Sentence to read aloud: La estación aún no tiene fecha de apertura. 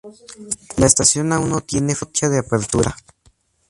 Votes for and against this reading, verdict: 2, 0, accepted